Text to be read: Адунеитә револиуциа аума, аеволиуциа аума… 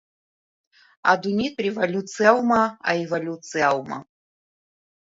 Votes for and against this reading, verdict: 2, 0, accepted